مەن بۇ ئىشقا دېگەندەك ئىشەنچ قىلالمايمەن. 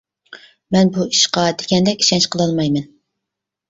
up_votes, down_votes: 2, 0